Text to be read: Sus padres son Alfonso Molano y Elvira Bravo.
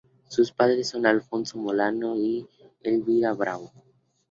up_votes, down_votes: 2, 0